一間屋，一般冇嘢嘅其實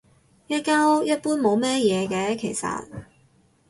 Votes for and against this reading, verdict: 2, 2, rejected